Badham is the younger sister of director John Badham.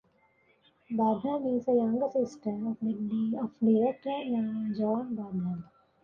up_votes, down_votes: 0, 2